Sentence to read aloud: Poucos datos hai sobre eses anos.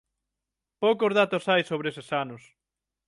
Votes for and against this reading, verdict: 9, 0, accepted